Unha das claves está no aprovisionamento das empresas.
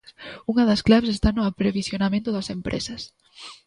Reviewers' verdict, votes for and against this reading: rejected, 0, 2